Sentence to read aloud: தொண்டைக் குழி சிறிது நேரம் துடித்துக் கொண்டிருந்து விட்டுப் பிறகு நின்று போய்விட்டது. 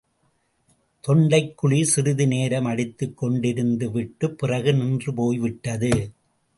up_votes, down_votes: 0, 2